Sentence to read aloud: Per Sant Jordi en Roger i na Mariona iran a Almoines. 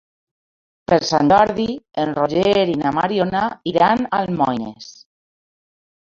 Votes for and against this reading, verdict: 1, 2, rejected